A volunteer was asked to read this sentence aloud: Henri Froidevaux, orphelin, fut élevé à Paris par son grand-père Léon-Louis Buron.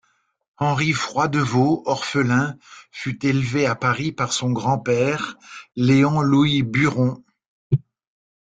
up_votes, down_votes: 2, 0